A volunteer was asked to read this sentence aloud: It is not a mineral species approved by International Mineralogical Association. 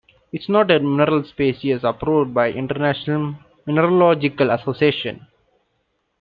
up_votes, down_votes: 1, 2